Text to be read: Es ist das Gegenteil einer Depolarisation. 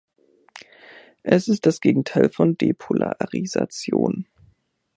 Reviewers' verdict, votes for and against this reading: rejected, 0, 2